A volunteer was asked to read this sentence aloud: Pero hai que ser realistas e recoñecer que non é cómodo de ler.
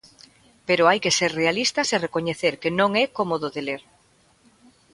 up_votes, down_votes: 2, 0